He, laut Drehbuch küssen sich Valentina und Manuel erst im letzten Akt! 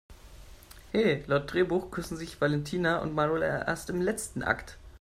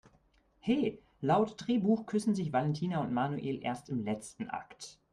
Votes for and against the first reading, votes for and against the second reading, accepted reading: 0, 2, 2, 0, second